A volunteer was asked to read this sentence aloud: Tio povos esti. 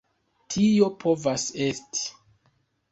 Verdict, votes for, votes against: accepted, 2, 0